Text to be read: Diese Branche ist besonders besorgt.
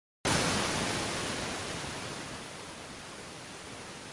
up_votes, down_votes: 0, 2